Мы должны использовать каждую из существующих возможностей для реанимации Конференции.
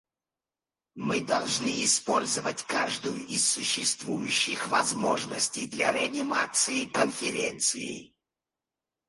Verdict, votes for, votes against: rejected, 2, 4